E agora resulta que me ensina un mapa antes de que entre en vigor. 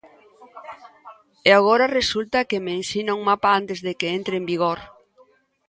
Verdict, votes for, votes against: rejected, 0, 2